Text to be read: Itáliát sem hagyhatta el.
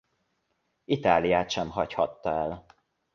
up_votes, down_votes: 3, 0